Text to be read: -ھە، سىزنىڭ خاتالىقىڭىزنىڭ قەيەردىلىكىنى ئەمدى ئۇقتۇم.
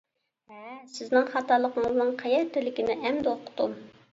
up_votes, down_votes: 0, 2